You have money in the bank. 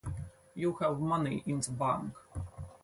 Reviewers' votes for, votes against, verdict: 4, 2, accepted